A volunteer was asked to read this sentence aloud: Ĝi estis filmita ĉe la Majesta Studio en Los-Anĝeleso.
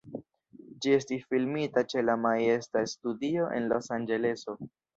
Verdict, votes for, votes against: rejected, 0, 2